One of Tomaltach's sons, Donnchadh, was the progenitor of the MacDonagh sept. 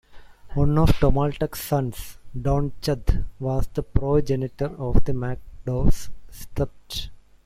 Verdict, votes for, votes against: rejected, 0, 2